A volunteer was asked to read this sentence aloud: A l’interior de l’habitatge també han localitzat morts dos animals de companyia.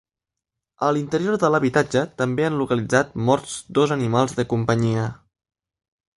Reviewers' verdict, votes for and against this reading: accepted, 3, 0